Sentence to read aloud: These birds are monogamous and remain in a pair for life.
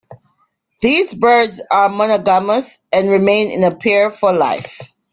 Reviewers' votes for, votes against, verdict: 2, 1, accepted